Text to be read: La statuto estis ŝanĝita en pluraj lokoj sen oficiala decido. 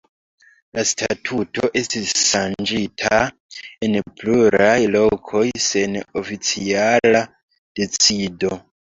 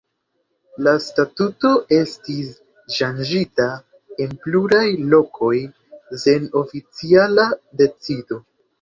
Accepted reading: second